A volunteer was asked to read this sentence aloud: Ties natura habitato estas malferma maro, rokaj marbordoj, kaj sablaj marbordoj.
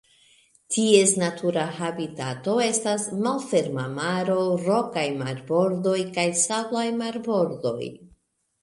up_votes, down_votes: 0, 2